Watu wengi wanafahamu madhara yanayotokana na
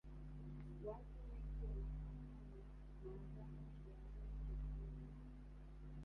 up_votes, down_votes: 1, 2